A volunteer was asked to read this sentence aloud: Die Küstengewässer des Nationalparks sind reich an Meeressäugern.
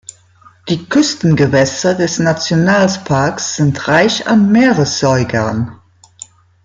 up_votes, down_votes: 0, 2